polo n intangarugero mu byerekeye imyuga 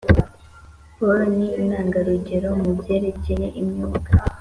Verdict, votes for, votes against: accepted, 3, 0